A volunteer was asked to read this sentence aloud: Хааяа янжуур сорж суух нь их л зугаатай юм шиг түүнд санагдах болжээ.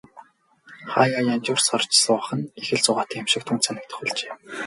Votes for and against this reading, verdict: 4, 4, rejected